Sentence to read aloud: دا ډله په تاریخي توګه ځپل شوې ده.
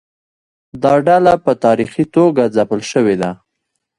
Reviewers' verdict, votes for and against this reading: rejected, 1, 2